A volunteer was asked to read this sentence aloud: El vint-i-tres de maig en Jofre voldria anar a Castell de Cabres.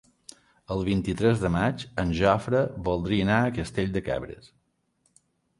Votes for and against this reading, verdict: 3, 0, accepted